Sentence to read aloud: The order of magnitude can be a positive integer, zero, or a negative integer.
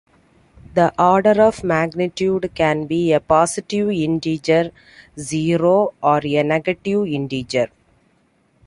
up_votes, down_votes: 2, 1